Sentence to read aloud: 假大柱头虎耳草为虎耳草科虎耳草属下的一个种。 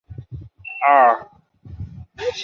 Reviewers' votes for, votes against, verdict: 2, 6, rejected